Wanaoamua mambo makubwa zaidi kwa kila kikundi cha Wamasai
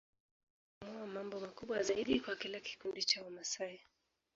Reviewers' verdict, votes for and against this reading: rejected, 0, 2